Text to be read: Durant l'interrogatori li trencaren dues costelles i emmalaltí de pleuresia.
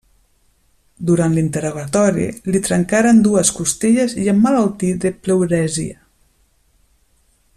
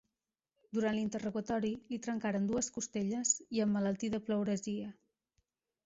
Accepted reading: second